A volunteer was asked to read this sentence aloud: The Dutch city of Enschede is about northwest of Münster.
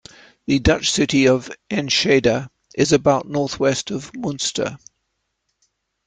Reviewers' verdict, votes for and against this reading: accepted, 2, 1